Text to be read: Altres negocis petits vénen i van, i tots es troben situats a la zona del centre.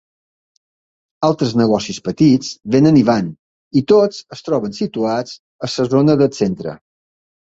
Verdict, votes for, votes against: rejected, 1, 2